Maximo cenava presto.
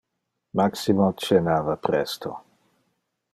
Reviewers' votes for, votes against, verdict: 2, 0, accepted